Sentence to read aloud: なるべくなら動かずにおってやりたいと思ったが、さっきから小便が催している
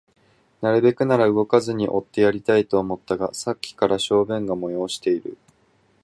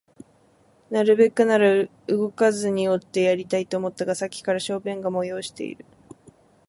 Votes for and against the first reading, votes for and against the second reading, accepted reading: 2, 2, 19, 2, second